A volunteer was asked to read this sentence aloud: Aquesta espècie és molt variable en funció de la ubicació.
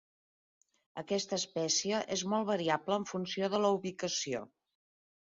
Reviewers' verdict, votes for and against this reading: accepted, 4, 1